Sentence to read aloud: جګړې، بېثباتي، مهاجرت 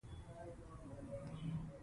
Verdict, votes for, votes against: rejected, 0, 2